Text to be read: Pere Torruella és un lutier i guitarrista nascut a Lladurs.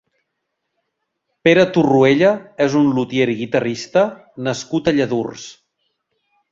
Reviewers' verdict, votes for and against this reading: rejected, 1, 2